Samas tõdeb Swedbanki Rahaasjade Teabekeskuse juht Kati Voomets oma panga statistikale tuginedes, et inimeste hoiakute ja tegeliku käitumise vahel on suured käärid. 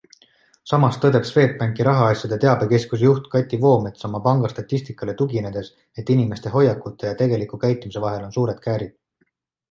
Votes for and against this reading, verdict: 2, 0, accepted